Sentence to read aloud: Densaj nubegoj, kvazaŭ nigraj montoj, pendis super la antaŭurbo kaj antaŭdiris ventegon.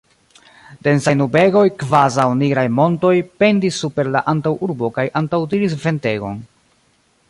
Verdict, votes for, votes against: rejected, 2, 3